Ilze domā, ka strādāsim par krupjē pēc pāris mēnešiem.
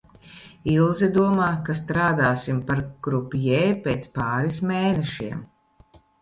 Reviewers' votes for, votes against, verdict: 2, 0, accepted